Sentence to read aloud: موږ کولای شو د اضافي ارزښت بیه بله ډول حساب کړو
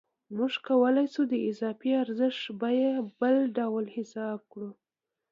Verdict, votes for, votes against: accepted, 2, 1